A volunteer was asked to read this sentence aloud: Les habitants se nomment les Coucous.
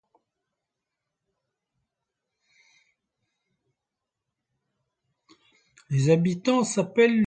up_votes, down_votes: 0, 2